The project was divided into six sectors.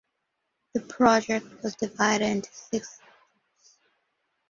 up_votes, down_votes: 1, 2